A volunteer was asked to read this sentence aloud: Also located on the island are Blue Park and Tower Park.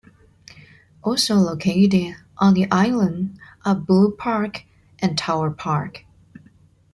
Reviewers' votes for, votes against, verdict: 3, 0, accepted